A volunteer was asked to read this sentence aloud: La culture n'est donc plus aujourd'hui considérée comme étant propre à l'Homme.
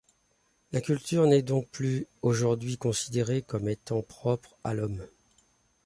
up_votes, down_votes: 0, 2